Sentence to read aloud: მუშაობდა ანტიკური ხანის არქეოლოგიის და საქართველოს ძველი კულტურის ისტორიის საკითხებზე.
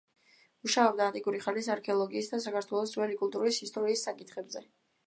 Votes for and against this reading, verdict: 2, 0, accepted